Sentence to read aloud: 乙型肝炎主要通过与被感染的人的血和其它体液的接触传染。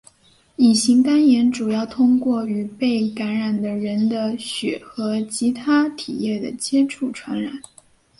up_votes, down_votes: 4, 0